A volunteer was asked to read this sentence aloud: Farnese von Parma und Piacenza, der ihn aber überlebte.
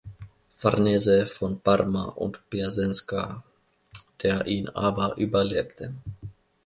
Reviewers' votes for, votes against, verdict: 1, 2, rejected